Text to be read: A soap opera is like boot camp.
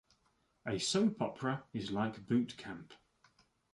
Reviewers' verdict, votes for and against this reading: accepted, 2, 0